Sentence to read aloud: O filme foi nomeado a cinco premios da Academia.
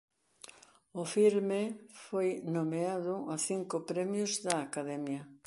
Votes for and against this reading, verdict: 4, 0, accepted